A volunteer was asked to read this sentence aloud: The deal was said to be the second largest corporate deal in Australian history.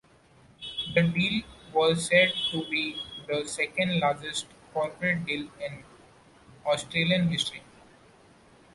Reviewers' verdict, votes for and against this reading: accepted, 2, 0